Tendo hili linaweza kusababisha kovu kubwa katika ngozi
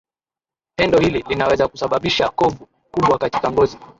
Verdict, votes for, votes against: rejected, 0, 2